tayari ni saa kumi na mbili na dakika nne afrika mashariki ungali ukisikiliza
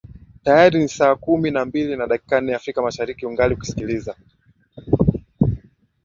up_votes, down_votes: 2, 1